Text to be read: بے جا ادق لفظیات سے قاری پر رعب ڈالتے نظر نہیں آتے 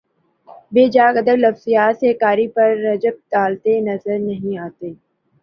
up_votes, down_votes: 2, 4